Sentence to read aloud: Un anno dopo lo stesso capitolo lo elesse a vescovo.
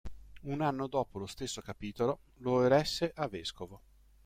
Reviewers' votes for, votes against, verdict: 0, 2, rejected